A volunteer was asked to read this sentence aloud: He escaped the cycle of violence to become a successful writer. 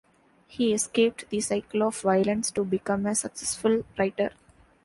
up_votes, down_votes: 2, 0